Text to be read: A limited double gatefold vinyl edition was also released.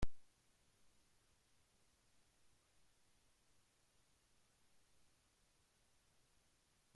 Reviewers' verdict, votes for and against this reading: rejected, 0, 2